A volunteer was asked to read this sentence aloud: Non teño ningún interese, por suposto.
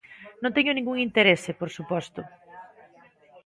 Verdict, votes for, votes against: accepted, 2, 1